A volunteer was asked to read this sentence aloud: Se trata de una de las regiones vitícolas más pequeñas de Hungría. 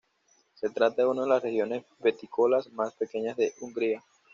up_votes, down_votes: 1, 2